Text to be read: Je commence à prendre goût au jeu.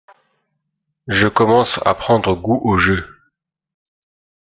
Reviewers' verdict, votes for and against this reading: accepted, 2, 0